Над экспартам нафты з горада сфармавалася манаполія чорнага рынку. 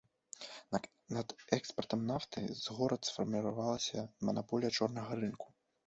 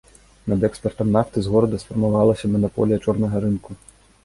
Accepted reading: second